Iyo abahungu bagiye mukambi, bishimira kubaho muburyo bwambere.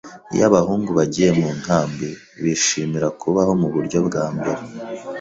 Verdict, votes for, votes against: rejected, 1, 2